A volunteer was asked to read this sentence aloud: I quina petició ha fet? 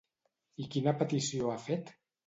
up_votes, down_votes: 2, 0